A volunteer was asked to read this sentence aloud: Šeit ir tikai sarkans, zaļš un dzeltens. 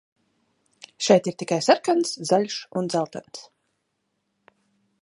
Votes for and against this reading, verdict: 2, 0, accepted